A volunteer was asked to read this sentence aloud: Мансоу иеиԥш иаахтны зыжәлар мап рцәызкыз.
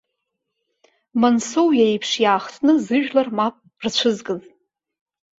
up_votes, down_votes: 0, 2